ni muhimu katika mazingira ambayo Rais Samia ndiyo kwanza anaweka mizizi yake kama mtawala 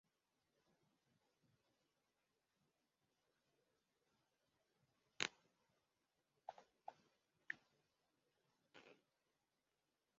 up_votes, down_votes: 0, 2